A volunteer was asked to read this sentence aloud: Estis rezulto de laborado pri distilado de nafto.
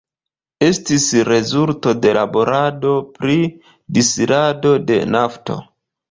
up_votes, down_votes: 1, 2